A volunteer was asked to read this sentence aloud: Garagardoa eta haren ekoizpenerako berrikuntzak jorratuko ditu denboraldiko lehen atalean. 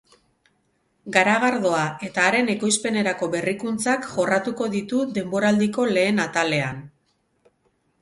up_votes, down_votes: 2, 4